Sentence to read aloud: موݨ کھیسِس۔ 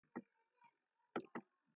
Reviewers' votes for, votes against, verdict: 0, 2, rejected